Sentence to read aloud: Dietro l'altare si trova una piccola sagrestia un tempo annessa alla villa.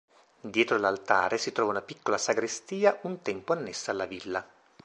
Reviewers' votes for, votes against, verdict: 2, 0, accepted